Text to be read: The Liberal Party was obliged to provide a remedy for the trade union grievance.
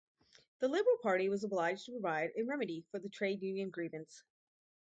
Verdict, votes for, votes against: accepted, 4, 0